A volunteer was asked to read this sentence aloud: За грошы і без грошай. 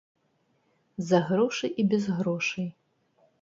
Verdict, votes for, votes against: rejected, 1, 2